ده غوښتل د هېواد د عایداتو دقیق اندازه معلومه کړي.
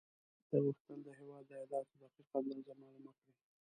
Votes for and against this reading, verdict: 1, 2, rejected